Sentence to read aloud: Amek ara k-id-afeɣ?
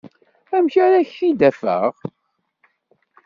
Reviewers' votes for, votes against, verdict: 1, 2, rejected